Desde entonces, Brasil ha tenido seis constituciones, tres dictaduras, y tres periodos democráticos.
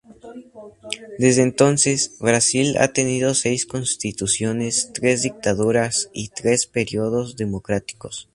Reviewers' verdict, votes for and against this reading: rejected, 0, 2